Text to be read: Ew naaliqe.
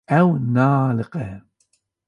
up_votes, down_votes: 2, 0